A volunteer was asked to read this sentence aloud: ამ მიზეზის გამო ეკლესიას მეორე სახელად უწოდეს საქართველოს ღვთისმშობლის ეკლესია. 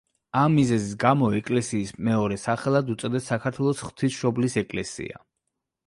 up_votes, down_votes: 0, 2